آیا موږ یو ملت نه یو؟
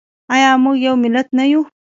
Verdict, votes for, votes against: rejected, 1, 2